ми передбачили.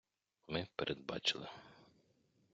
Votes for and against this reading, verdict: 2, 0, accepted